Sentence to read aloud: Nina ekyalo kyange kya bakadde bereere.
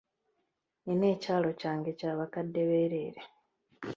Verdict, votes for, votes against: rejected, 0, 3